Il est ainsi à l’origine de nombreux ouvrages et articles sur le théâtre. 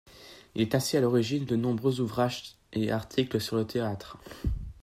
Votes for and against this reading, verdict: 2, 0, accepted